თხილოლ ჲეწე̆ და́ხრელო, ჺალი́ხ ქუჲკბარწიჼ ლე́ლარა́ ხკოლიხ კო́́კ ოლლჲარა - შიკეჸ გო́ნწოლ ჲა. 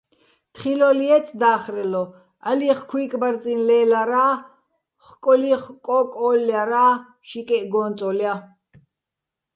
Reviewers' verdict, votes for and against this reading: rejected, 0, 2